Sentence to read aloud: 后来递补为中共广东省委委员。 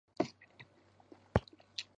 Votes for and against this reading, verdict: 0, 2, rejected